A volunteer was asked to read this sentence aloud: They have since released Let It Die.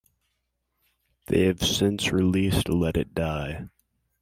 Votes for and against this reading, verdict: 2, 0, accepted